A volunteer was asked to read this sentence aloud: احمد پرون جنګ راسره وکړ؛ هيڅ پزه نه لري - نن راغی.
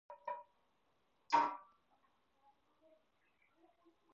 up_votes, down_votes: 0, 4